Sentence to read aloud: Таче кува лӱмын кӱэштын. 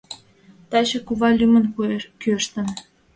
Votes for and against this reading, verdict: 2, 0, accepted